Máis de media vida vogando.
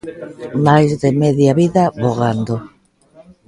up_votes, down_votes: 0, 2